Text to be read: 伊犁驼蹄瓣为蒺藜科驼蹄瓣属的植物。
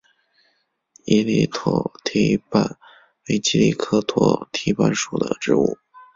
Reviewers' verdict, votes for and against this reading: rejected, 0, 2